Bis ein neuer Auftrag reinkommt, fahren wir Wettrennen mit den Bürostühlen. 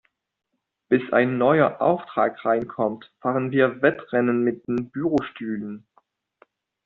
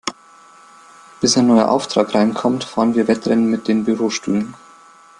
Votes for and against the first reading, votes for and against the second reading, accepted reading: 1, 2, 2, 0, second